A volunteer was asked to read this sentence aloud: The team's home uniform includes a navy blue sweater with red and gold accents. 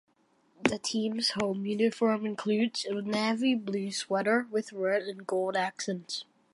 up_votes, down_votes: 1, 2